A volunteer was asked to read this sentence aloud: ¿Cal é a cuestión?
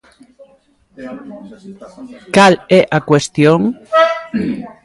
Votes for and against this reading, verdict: 0, 2, rejected